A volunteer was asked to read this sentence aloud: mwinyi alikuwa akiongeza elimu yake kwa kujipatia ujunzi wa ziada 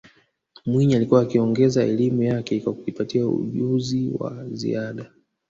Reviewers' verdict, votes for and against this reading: accepted, 3, 0